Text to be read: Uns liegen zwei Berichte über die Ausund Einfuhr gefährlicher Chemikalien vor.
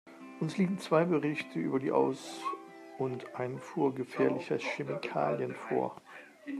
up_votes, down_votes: 0, 2